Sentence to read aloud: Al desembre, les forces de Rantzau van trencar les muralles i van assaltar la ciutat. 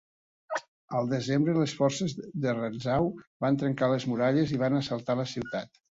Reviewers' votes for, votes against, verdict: 3, 0, accepted